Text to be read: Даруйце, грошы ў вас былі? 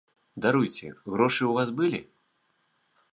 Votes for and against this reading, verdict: 0, 2, rejected